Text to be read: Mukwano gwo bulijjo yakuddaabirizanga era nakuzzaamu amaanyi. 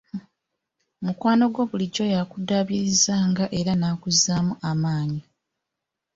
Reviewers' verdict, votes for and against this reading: accepted, 2, 0